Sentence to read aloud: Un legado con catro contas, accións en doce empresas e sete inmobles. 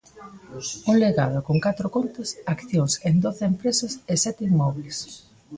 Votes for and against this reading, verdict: 2, 0, accepted